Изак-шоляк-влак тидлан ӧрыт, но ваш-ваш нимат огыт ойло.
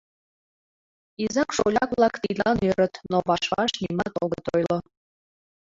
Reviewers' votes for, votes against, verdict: 2, 1, accepted